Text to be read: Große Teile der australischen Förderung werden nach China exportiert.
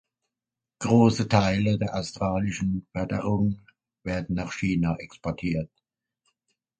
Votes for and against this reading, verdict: 2, 0, accepted